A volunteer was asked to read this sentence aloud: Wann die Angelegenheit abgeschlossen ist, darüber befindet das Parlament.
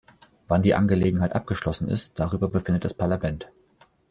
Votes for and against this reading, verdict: 2, 0, accepted